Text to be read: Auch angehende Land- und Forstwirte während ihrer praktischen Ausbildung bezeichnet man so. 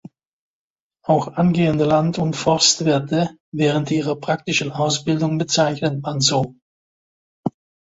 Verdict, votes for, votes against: accepted, 2, 0